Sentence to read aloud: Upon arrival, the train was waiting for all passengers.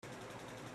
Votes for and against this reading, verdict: 0, 2, rejected